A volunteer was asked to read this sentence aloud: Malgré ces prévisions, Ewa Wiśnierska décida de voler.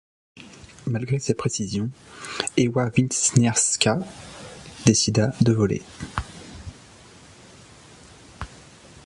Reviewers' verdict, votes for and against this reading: rejected, 1, 2